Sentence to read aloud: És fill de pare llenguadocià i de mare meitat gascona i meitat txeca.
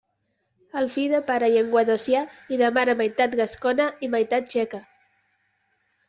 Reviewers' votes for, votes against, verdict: 1, 2, rejected